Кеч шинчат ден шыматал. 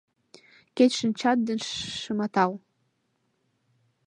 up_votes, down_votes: 0, 2